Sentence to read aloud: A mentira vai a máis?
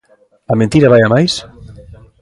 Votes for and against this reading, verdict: 1, 2, rejected